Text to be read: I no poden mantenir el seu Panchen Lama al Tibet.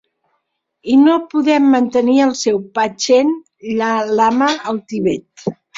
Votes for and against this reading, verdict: 0, 2, rejected